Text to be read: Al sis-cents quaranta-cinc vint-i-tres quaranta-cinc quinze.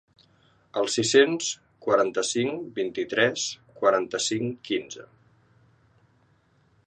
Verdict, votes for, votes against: accepted, 2, 0